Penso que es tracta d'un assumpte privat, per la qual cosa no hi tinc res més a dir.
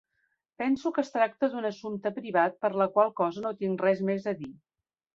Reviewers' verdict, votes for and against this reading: rejected, 0, 2